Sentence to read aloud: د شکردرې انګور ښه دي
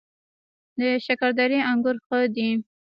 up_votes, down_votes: 2, 1